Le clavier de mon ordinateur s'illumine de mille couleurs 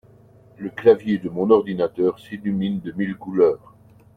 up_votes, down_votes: 2, 0